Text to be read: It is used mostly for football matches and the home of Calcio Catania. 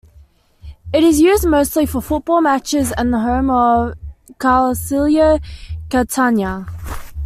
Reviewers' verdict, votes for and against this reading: accepted, 2, 1